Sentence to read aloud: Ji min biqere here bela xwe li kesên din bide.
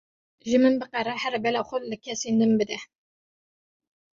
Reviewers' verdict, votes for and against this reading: accepted, 2, 0